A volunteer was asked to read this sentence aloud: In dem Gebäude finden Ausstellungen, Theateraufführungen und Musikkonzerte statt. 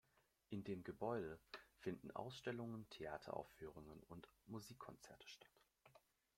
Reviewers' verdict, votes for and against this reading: accepted, 2, 0